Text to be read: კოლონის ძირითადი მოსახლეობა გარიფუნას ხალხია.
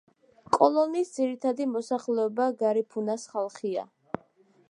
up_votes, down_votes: 2, 0